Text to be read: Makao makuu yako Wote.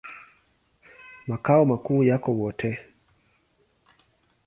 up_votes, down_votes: 2, 0